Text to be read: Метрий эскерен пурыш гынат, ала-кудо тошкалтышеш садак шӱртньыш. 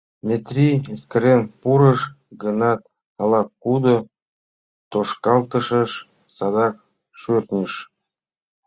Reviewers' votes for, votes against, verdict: 2, 0, accepted